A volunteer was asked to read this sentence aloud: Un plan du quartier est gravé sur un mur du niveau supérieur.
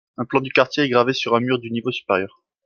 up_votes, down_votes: 2, 0